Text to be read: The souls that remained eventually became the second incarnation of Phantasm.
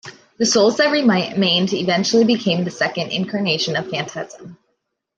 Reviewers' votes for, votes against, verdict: 1, 2, rejected